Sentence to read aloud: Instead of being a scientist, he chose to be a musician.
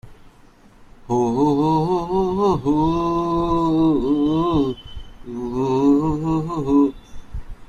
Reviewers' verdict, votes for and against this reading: rejected, 0, 2